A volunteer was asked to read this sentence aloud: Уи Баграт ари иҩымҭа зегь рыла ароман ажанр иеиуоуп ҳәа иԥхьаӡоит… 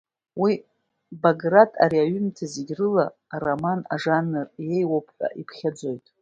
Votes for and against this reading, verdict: 1, 2, rejected